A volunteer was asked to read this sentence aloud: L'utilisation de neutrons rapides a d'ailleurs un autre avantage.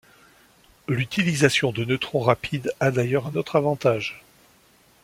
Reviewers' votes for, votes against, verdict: 2, 0, accepted